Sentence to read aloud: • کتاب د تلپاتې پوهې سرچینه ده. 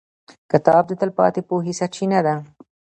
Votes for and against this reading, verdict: 1, 2, rejected